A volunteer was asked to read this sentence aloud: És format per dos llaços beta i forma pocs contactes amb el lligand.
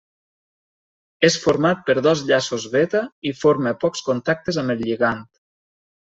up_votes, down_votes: 0, 2